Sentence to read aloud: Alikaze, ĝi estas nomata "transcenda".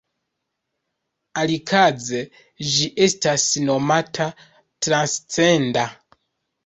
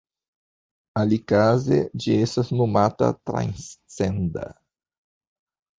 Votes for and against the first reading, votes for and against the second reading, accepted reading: 0, 2, 2, 0, second